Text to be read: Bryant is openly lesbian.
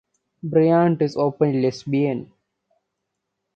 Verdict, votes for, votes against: rejected, 1, 2